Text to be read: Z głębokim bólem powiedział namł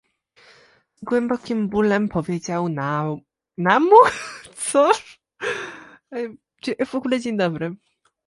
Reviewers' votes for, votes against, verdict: 0, 2, rejected